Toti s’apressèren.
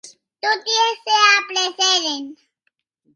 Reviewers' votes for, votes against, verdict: 0, 2, rejected